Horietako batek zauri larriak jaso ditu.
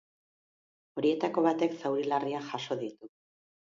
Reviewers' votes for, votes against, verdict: 3, 0, accepted